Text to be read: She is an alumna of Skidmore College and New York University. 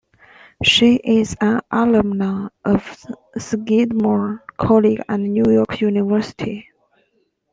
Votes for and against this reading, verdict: 1, 2, rejected